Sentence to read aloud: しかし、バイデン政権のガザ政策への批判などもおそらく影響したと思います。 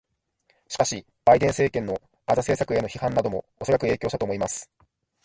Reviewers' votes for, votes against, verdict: 0, 2, rejected